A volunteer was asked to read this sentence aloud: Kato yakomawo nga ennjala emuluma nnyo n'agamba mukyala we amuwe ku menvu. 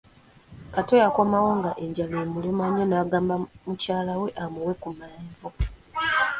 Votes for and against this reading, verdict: 2, 0, accepted